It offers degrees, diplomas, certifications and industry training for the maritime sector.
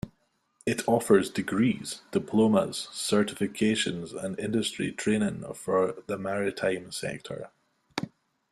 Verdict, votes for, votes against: accepted, 2, 0